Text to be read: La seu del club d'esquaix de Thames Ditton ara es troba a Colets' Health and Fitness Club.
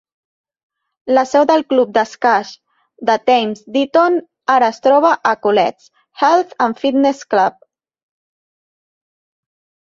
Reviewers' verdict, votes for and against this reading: accepted, 2, 0